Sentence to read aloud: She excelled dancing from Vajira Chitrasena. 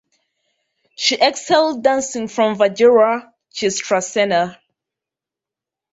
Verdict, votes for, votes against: rejected, 0, 2